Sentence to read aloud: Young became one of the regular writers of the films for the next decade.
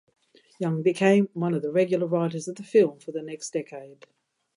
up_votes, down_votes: 0, 2